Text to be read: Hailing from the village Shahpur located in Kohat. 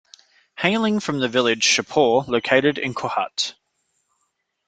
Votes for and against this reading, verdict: 2, 0, accepted